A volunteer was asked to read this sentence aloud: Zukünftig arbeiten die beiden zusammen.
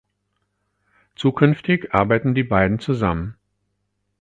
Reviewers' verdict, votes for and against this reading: accepted, 4, 0